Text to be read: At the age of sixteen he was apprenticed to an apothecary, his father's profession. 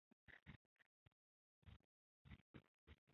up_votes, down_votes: 0, 3